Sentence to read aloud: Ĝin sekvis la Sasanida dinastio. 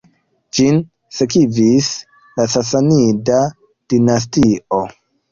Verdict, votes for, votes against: rejected, 1, 2